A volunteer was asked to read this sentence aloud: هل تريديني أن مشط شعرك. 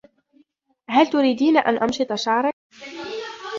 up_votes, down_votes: 1, 2